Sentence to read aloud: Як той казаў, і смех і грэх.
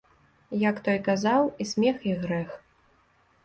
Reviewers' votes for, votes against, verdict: 2, 0, accepted